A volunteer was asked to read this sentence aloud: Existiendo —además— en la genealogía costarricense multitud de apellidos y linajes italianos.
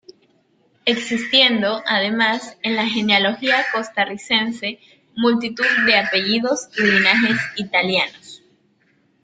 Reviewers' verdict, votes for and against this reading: accepted, 2, 0